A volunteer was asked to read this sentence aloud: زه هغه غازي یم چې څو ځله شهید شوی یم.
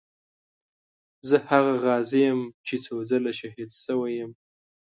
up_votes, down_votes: 2, 0